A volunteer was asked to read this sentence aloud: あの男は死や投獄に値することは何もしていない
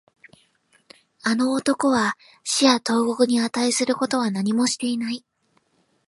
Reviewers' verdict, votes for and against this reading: accepted, 2, 0